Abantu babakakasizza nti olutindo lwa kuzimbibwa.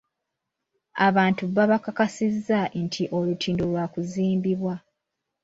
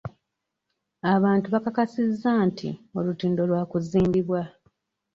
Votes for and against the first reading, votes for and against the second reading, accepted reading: 2, 0, 1, 2, first